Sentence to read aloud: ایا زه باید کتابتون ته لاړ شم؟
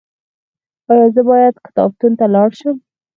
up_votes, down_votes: 2, 4